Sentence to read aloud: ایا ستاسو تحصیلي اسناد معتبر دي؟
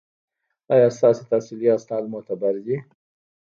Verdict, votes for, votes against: accepted, 2, 0